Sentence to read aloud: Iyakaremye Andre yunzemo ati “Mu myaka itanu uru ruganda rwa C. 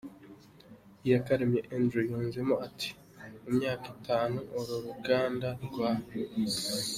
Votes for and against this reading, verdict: 3, 0, accepted